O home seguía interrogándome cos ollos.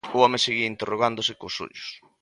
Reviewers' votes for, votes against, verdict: 0, 3, rejected